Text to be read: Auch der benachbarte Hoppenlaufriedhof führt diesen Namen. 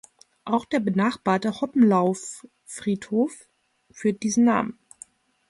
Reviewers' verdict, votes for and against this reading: rejected, 1, 2